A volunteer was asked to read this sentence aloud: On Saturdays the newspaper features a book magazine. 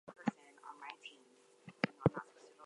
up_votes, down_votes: 0, 2